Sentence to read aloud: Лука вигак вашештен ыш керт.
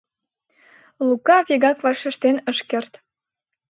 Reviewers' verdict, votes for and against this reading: accepted, 2, 0